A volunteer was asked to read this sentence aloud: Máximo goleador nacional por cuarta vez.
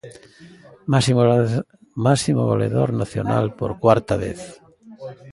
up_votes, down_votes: 0, 2